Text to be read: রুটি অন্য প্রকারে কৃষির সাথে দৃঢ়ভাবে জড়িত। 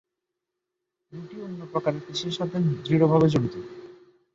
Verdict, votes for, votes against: rejected, 1, 6